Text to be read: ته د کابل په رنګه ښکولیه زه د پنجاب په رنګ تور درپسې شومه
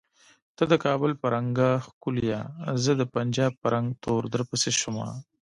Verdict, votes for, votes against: rejected, 0, 2